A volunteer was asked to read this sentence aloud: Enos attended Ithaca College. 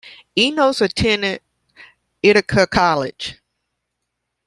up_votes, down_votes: 1, 2